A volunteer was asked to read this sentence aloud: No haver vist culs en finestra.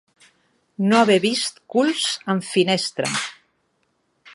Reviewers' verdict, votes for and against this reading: accepted, 2, 1